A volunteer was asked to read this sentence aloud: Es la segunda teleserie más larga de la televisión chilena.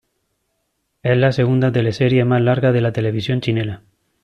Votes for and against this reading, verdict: 2, 1, accepted